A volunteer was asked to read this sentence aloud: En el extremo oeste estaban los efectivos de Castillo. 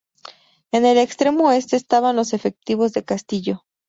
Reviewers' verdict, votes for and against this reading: accepted, 4, 0